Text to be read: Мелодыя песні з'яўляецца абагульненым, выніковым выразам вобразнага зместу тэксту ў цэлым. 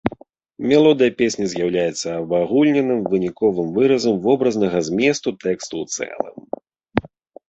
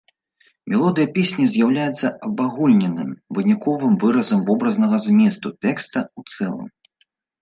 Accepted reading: first